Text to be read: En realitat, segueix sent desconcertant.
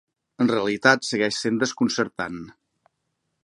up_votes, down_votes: 3, 0